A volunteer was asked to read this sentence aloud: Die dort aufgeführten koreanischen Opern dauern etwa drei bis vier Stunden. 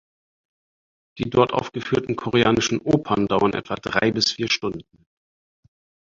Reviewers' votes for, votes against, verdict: 4, 0, accepted